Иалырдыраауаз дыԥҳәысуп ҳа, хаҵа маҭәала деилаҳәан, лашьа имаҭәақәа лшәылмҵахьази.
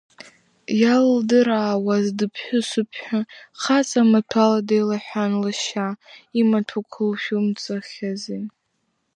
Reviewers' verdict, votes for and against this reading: rejected, 1, 2